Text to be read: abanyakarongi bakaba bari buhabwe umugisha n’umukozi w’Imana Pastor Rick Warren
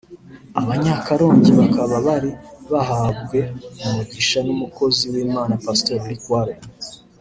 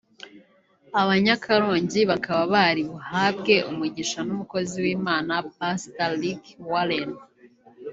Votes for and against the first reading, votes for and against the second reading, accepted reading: 0, 2, 2, 1, second